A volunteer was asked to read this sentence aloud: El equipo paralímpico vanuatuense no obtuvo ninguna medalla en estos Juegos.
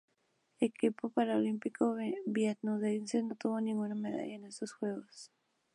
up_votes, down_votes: 0, 2